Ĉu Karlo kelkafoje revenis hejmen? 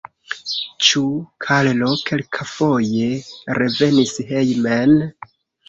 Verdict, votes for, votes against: rejected, 0, 2